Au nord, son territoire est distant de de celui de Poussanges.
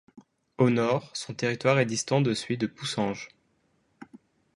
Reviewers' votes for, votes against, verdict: 0, 2, rejected